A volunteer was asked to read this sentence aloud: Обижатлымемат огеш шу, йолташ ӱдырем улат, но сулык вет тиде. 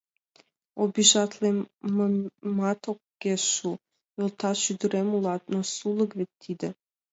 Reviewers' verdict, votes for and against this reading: accepted, 2, 1